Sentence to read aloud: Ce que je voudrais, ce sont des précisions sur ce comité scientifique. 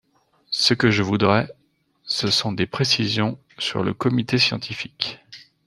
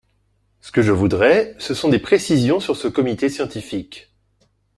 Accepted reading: second